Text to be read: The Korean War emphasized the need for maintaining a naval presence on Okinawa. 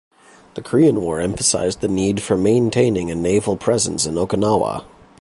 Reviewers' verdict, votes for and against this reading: rejected, 1, 2